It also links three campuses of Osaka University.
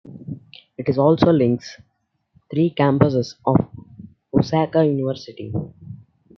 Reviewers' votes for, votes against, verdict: 1, 2, rejected